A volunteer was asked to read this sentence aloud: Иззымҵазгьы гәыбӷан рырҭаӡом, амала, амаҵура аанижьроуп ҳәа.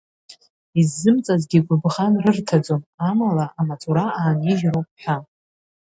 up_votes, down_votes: 2, 1